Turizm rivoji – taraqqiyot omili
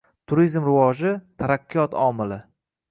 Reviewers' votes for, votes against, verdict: 2, 0, accepted